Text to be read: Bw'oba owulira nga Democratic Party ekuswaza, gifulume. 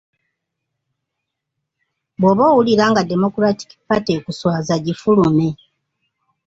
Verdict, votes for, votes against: accepted, 2, 1